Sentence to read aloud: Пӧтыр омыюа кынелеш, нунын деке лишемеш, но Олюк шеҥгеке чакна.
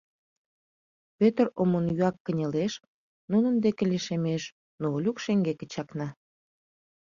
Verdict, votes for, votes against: accepted, 2, 1